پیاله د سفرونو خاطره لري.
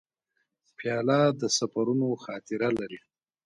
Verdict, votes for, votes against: accepted, 3, 0